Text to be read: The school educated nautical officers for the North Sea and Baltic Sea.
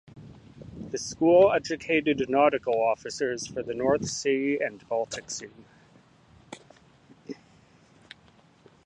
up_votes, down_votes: 2, 0